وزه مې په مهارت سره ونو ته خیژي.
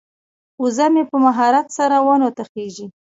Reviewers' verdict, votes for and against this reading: accepted, 2, 0